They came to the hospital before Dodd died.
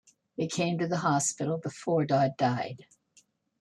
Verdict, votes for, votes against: accepted, 2, 0